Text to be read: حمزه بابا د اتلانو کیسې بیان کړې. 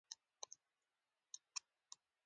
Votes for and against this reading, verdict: 1, 2, rejected